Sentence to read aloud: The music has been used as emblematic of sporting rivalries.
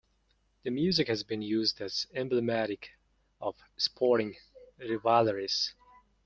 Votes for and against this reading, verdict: 0, 2, rejected